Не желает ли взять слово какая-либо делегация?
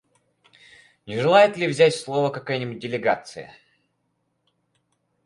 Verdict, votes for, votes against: rejected, 0, 4